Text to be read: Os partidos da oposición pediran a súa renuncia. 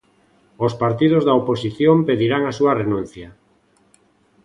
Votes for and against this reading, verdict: 0, 2, rejected